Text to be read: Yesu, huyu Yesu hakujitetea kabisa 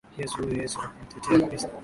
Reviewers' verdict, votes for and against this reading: rejected, 0, 2